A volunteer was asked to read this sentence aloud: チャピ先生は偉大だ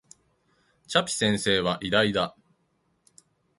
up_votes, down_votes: 2, 0